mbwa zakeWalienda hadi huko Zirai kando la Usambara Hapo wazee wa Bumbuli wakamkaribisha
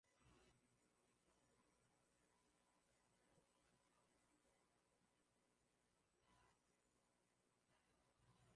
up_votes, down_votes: 1, 18